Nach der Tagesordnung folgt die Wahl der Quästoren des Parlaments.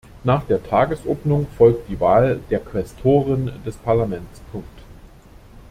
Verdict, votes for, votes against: rejected, 0, 2